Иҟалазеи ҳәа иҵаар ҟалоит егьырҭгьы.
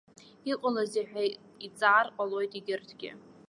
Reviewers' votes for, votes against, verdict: 2, 0, accepted